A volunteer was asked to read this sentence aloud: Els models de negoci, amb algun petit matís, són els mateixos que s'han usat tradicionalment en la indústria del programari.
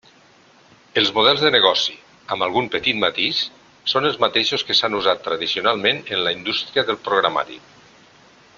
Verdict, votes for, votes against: accepted, 3, 0